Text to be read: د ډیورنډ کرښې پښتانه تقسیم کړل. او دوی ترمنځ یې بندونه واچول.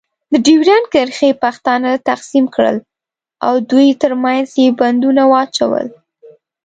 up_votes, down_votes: 2, 0